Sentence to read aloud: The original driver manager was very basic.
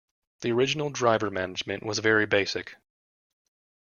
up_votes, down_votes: 1, 2